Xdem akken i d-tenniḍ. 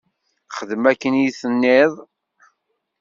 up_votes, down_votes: 0, 2